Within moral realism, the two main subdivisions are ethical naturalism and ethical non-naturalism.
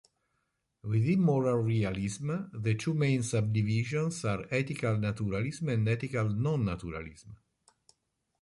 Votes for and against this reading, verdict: 1, 2, rejected